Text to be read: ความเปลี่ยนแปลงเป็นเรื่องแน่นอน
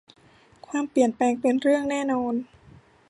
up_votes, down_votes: 2, 0